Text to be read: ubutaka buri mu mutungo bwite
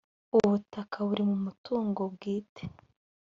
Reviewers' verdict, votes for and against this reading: accepted, 2, 0